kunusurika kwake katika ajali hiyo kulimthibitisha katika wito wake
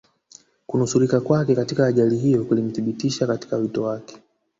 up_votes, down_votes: 1, 2